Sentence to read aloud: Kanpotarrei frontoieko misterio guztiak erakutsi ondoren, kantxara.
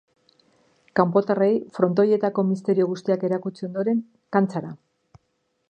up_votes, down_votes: 0, 2